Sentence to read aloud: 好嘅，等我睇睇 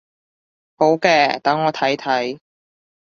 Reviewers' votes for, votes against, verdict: 2, 0, accepted